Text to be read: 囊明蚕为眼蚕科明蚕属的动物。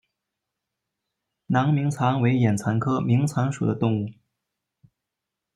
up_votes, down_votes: 0, 2